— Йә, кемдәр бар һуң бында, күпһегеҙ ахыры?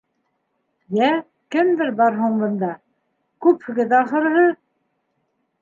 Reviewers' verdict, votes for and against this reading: rejected, 0, 2